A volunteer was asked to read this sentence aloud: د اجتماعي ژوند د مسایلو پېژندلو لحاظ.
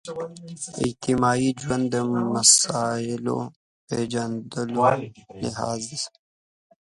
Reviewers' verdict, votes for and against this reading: rejected, 1, 2